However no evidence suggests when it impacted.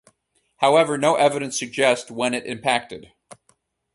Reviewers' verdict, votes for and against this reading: accepted, 4, 0